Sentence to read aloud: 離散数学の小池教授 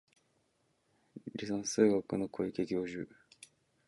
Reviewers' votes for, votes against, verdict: 2, 0, accepted